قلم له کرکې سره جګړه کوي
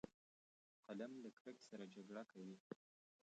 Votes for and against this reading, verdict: 0, 2, rejected